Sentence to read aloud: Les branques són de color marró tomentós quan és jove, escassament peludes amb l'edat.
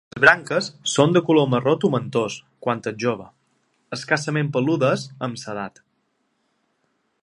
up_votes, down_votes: 0, 2